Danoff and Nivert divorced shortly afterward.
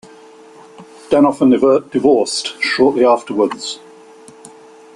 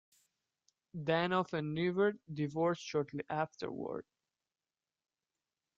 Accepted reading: second